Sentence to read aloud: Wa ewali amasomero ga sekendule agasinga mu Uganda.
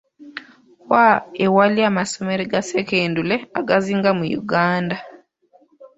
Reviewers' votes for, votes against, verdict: 0, 3, rejected